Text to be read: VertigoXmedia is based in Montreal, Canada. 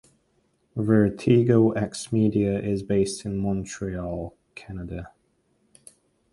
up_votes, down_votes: 2, 0